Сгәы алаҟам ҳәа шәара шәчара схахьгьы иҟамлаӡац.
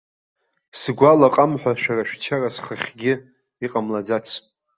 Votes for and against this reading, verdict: 2, 0, accepted